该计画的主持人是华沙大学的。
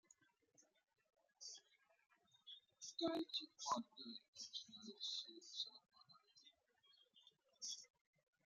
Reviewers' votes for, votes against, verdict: 0, 2, rejected